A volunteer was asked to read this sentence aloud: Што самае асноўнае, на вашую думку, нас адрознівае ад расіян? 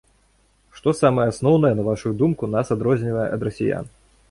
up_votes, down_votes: 2, 0